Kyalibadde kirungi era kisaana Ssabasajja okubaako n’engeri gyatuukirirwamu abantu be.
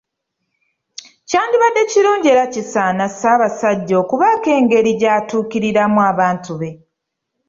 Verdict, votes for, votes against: rejected, 1, 2